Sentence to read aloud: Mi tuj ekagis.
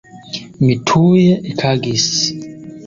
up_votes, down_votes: 1, 2